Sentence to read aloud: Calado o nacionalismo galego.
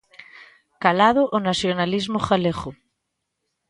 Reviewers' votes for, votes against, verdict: 2, 0, accepted